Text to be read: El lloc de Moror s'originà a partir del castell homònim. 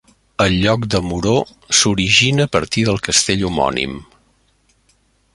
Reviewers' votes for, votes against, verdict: 1, 2, rejected